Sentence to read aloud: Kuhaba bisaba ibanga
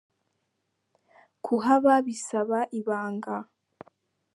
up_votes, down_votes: 2, 1